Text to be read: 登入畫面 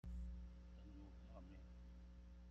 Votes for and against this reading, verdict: 0, 2, rejected